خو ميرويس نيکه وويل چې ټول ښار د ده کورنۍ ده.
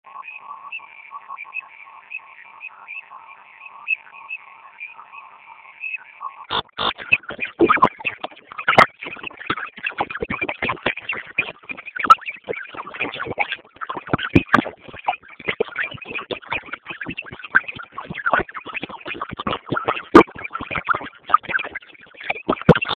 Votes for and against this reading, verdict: 0, 2, rejected